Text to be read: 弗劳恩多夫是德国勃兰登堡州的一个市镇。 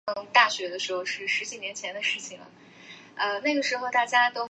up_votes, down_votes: 1, 4